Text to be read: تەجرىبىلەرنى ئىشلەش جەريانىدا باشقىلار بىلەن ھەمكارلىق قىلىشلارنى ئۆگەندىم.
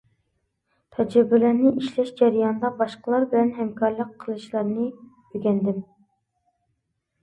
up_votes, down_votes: 2, 0